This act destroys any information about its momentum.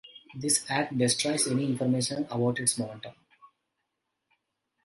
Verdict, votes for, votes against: accepted, 2, 0